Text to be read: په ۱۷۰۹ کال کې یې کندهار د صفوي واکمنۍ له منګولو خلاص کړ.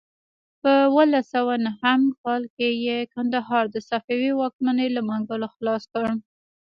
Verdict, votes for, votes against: rejected, 0, 2